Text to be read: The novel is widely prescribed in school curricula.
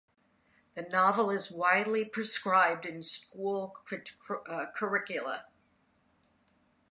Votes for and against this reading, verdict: 0, 2, rejected